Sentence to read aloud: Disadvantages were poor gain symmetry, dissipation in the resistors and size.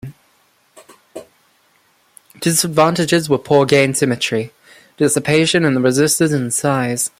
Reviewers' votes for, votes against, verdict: 2, 0, accepted